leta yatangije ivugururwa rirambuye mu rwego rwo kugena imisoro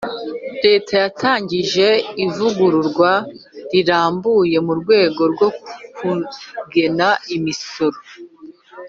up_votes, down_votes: 2, 0